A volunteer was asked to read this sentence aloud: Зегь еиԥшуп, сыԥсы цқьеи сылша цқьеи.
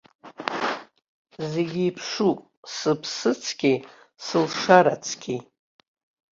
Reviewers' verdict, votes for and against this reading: rejected, 0, 2